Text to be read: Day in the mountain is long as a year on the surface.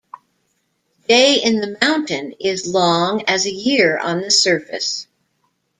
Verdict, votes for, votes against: accepted, 2, 0